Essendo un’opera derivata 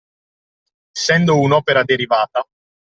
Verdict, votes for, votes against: rejected, 0, 2